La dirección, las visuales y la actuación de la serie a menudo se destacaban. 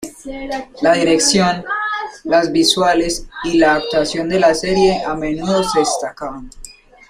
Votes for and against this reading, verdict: 0, 2, rejected